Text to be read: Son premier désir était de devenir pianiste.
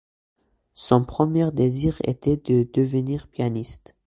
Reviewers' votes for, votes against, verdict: 2, 0, accepted